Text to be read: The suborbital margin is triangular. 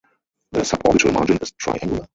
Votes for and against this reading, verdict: 0, 4, rejected